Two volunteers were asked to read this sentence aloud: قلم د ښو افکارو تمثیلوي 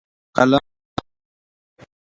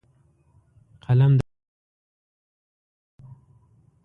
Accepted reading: second